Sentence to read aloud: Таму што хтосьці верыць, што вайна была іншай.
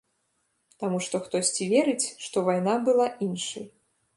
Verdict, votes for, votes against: rejected, 0, 2